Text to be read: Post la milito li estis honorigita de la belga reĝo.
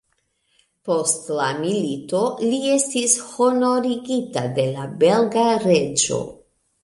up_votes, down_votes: 2, 0